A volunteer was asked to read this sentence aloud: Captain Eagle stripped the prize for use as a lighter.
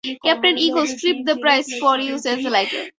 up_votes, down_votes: 0, 4